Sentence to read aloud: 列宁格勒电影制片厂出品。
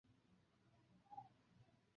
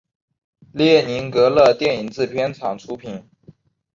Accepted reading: second